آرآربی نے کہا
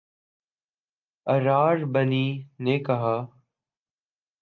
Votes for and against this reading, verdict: 0, 2, rejected